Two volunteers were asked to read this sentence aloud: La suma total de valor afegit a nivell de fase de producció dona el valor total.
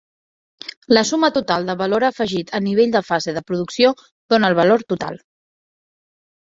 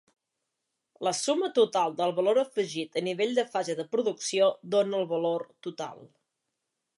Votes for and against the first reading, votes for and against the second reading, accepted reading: 3, 0, 1, 2, first